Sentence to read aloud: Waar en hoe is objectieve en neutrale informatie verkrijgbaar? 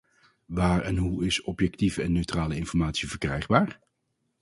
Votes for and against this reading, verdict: 2, 0, accepted